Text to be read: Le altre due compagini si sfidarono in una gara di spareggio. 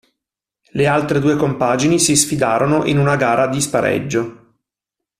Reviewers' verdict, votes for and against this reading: accepted, 2, 0